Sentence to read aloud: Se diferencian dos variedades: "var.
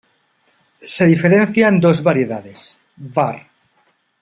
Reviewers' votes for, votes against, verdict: 2, 0, accepted